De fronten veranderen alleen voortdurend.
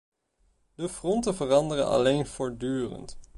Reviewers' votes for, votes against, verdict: 2, 0, accepted